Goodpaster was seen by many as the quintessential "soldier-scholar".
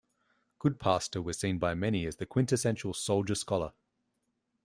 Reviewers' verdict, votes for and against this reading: accepted, 2, 0